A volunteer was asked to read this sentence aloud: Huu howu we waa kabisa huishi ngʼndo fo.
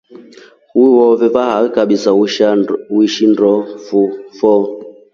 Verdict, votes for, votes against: rejected, 0, 2